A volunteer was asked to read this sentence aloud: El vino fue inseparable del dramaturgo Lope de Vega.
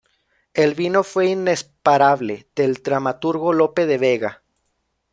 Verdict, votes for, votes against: rejected, 0, 2